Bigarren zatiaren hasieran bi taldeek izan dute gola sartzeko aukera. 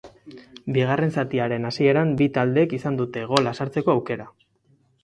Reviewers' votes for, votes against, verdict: 4, 0, accepted